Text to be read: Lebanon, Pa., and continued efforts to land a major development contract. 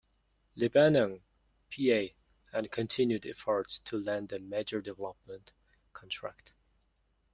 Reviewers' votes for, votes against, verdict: 2, 0, accepted